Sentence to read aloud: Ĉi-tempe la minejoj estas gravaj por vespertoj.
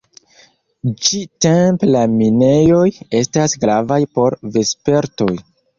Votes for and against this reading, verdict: 1, 3, rejected